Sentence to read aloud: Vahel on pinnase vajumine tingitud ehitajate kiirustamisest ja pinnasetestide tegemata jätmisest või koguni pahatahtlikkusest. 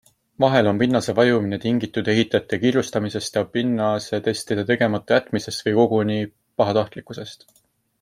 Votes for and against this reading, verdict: 2, 0, accepted